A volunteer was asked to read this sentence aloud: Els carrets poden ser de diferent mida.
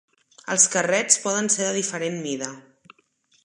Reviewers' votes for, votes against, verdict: 3, 0, accepted